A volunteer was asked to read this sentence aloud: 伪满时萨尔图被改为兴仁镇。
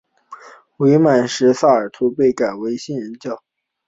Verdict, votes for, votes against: accepted, 4, 1